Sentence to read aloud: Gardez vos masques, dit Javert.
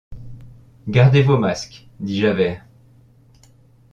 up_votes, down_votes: 2, 0